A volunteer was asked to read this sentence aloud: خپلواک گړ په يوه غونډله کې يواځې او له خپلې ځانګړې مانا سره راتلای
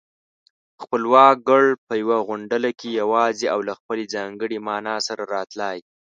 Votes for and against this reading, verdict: 2, 0, accepted